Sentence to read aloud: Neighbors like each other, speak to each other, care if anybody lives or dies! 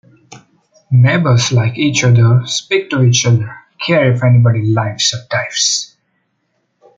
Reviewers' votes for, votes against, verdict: 2, 0, accepted